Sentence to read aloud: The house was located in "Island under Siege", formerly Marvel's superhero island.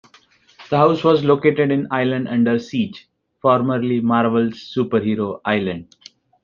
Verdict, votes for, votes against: accepted, 2, 0